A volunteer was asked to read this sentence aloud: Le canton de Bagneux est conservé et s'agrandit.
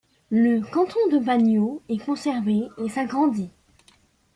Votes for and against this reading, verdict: 0, 2, rejected